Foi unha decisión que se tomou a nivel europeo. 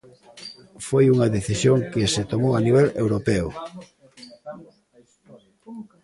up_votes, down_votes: 2, 0